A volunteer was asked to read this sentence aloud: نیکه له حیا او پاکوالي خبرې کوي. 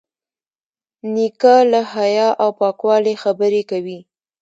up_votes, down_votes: 0, 2